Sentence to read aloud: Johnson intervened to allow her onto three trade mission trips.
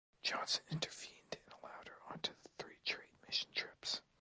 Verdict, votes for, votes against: rejected, 1, 2